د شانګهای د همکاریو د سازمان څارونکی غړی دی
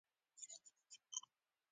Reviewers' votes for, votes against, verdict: 0, 2, rejected